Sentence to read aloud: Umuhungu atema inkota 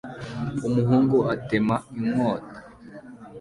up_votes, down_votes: 2, 0